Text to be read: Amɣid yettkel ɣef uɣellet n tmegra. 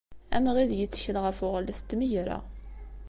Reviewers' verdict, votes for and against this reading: accepted, 2, 0